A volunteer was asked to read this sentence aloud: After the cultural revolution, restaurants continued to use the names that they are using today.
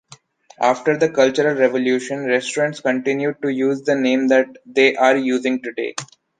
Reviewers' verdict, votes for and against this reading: rejected, 0, 2